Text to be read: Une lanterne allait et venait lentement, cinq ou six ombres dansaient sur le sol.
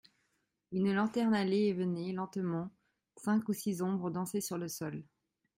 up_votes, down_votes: 2, 0